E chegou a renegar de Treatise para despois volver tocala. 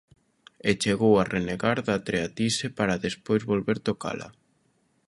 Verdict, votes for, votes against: accepted, 2, 0